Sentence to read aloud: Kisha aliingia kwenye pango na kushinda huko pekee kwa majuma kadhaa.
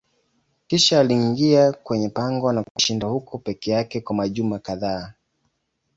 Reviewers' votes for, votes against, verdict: 1, 2, rejected